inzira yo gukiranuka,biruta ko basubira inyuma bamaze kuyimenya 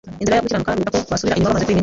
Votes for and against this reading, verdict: 1, 2, rejected